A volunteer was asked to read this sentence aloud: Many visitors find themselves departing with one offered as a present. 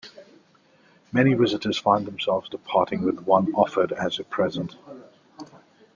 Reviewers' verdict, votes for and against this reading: accepted, 2, 0